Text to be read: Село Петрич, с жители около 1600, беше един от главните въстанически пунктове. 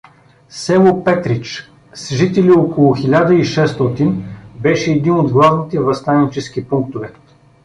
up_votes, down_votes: 0, 2